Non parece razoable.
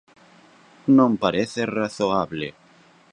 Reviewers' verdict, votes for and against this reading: accepted, 2, 0